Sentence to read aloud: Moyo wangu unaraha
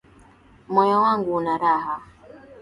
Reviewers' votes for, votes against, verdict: 6, 1, accepted